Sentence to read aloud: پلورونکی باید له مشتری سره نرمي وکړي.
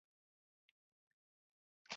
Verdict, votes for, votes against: rejected, 0, 2